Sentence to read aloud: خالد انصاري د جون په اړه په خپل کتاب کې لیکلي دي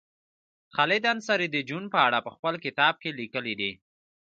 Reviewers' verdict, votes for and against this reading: accepted, 2, 0